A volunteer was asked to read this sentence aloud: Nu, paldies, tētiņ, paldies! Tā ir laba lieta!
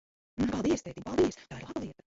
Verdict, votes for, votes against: rejected, 0, 3